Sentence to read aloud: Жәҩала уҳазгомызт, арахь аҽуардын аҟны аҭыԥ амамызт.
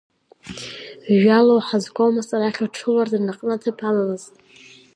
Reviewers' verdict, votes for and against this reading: rejected, 1, 2